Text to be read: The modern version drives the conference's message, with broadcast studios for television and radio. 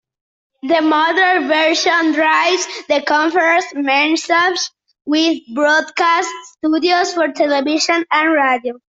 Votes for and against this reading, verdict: 0, 2, rejected